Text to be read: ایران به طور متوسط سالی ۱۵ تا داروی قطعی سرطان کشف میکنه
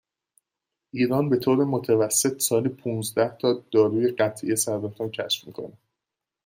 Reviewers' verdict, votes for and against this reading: rejected, 0, 2